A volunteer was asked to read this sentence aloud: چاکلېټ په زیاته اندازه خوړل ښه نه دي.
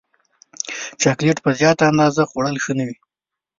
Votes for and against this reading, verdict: 2, 0, accepted